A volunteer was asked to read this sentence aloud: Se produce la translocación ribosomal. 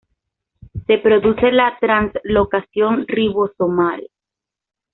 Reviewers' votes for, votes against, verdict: 2, 0, accepted